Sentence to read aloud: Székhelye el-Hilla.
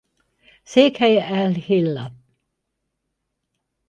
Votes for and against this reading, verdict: 4, 0, accepted